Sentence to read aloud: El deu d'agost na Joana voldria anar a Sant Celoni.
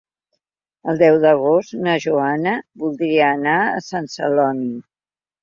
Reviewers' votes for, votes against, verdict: 3, 0, accepted